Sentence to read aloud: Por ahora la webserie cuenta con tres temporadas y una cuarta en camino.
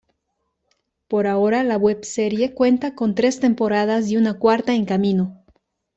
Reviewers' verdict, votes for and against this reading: accepted, 3, 0